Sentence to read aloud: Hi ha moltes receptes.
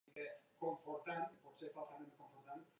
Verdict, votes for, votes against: rejected, 0, 3